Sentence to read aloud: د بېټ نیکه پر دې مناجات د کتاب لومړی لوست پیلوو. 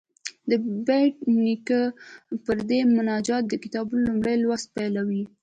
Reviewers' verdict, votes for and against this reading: accepted, 2, 0